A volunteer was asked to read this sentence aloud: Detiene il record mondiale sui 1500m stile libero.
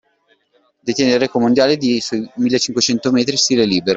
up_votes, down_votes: 0, 2